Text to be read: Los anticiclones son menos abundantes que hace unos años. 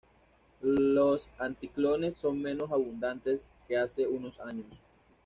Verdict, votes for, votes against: rejected, 1, 2